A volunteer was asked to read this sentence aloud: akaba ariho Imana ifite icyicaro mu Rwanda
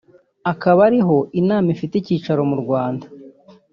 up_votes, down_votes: 0, 2